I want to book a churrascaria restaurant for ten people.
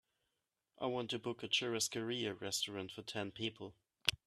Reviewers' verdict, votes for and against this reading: accepted, 2, 0